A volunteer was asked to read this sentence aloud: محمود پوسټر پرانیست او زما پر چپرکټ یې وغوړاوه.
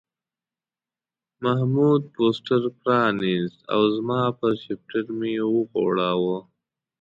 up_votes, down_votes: 1, 2